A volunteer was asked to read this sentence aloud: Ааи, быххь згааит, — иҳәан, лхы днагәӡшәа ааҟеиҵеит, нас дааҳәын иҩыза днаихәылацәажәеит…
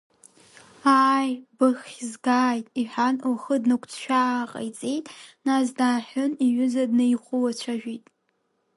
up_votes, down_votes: 0, 2